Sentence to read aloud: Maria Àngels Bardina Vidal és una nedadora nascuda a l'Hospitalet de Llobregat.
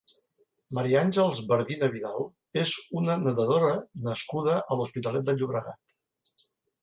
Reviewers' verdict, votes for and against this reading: accepted, 2, 0